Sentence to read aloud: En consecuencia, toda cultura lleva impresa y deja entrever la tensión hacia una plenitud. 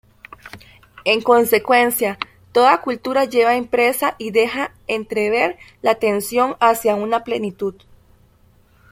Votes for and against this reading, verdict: 1, 2, rejected